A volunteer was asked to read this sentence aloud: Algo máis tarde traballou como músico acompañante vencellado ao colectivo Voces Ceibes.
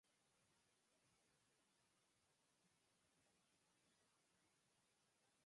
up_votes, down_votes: 0, 4